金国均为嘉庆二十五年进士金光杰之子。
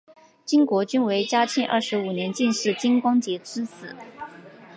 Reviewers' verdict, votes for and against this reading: accepted, 2, 1